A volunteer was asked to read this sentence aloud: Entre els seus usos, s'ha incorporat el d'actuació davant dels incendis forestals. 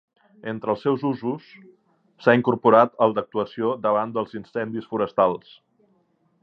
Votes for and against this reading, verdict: 2, 0, accepted